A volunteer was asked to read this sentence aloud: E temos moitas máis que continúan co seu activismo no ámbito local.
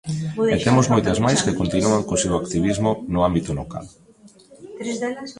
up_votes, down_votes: 0, 2